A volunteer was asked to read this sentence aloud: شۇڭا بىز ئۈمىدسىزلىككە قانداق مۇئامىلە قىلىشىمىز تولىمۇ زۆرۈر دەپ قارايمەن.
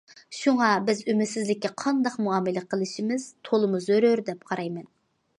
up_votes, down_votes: 2, 0